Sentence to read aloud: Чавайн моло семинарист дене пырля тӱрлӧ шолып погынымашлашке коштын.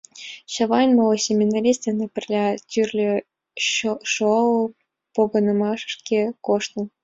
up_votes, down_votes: 0, 2